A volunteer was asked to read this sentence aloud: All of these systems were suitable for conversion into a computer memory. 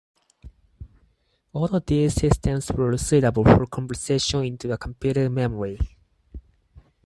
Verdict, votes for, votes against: rejected, 2, 4